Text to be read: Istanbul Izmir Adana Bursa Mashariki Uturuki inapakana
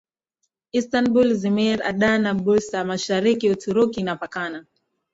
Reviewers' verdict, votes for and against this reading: accepted, 2, 0